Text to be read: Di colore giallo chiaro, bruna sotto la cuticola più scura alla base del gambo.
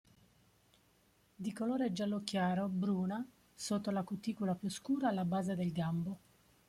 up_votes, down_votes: 1, 2